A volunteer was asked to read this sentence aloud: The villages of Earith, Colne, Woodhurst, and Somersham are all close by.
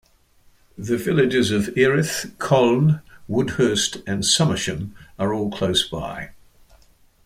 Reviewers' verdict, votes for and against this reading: accepted, 2, 0